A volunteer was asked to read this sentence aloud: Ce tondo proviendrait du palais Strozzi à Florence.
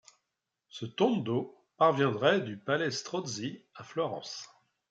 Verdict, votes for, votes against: rejected, 0, 2